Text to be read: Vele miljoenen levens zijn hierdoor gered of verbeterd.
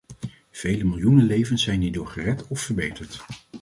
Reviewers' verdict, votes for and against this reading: accepted, 2, 0